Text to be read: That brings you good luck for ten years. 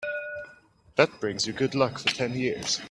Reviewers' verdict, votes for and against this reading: accepted, 2, 1